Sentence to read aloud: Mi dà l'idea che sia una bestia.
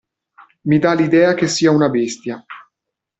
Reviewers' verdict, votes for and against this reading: accepted, 2, 0